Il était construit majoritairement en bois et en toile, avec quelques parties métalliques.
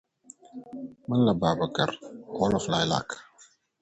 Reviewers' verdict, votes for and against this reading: rejected, 0, 2